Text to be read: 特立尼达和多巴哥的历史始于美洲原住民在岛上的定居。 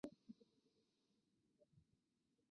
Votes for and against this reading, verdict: 1, 3, rejected